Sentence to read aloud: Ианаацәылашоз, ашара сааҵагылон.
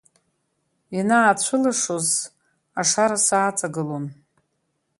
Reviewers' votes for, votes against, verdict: 2, 1, accepted